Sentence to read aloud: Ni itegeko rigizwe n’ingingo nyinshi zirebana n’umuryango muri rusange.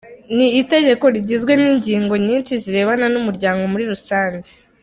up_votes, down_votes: 2, 0